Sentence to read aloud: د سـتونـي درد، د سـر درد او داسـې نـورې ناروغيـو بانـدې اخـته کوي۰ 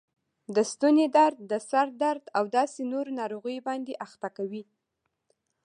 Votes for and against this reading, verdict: 0, 2, rejected